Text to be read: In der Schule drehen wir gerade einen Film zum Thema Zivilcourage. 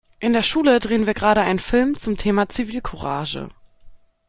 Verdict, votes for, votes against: accepted, 2, 0